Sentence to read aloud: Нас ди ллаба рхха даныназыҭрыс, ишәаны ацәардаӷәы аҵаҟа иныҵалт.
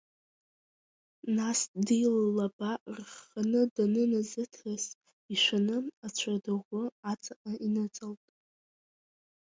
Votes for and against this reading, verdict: 0, 2, rejected